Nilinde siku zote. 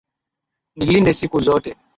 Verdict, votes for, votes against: accepted, 3, 0